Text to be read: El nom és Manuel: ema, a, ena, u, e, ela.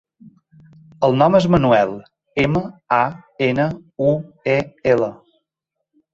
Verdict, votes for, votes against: accepted, 3, 0